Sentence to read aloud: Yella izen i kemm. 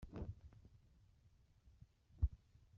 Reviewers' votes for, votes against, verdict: 1, 2, rejected